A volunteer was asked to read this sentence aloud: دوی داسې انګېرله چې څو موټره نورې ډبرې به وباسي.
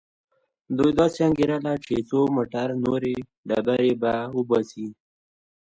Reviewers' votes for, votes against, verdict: 2, 0, accepted